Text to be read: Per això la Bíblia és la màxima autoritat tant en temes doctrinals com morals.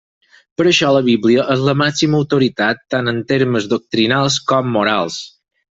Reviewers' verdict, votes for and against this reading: rejected, 0, 4